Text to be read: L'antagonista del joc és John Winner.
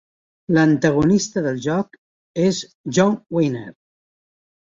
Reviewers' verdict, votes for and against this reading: accepted, 2, 0